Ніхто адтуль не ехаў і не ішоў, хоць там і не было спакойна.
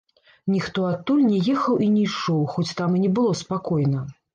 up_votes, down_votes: 0, 2